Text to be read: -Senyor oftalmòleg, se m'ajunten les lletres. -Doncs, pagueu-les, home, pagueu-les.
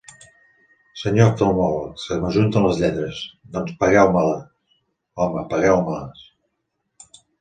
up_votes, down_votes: 0, 2